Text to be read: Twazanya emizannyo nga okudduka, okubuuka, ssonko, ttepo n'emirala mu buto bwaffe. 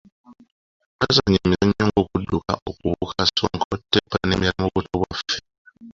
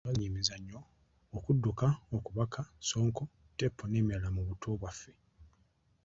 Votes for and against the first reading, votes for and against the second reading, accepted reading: 2, 1, 0, 2, first